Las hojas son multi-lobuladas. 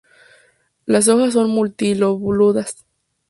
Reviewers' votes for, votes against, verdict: 0, 2, rejected